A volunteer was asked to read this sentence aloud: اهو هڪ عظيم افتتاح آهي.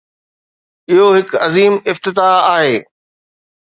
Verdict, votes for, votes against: accepted, 2, 0